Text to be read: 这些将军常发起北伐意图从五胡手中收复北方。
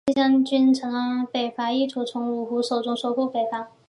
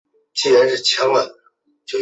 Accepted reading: first